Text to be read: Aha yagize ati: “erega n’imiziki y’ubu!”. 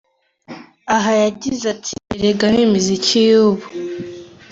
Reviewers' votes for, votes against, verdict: 2, 0, accepted